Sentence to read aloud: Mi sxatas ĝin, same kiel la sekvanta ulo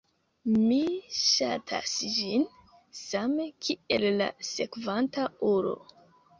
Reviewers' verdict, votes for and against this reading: accepted, 2, 0